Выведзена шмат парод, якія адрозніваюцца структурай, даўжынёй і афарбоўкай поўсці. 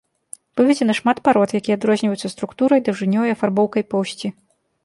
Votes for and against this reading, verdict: 2, 0, accepted